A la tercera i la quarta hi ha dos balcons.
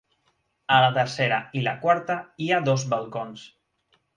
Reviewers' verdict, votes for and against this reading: accepted, 3, 0